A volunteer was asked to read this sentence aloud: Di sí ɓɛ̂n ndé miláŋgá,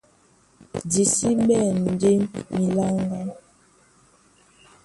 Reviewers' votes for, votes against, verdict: 2, 1, accepted